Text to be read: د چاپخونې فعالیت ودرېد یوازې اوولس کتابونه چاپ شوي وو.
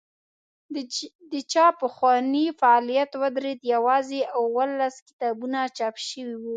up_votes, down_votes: 2, 0